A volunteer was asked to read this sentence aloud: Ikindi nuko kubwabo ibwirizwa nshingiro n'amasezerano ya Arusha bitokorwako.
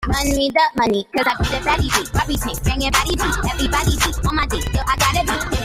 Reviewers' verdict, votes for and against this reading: rejected, 0, 2